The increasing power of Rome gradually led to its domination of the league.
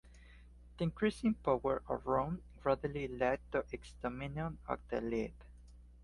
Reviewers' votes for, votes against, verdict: 1, 2, rejected